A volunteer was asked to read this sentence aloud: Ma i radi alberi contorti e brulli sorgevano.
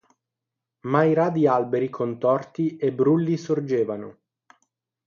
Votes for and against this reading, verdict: 6, 0, accepted